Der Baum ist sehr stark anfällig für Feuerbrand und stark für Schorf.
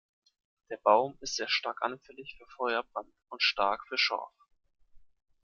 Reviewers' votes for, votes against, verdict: 2, 0, accepted